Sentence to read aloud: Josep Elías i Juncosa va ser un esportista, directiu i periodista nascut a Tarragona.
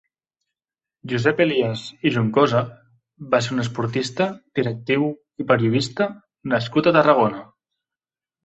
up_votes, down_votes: 2, 1